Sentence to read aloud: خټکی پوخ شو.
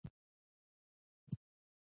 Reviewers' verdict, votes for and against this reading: rejected, 1, 2